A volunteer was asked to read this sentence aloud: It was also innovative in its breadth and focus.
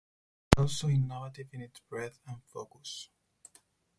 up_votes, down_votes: 2, 4